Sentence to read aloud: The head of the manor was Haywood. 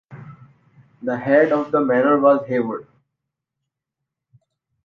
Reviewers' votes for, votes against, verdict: 2, 1, accepted